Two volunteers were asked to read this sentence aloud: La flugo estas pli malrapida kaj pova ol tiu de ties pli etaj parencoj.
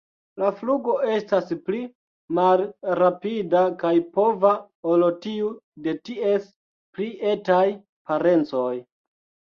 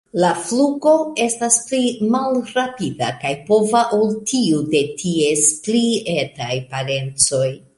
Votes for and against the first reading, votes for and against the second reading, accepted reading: 1, 2, 3, 0, second